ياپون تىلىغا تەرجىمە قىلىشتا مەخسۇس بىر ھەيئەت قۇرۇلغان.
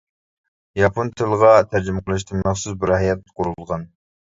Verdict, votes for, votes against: rejected, 0, 2